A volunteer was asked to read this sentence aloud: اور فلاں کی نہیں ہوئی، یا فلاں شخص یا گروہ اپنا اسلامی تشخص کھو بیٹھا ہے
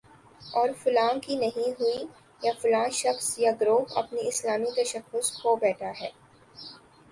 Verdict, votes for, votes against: accepted, 2, 0